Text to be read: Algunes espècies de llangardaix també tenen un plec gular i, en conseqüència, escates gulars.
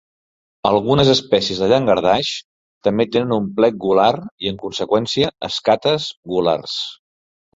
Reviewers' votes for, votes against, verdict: 2, 0, accepted